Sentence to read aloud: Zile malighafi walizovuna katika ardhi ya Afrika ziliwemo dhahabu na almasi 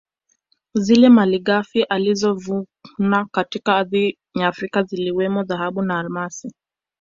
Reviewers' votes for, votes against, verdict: 1, 2, rejected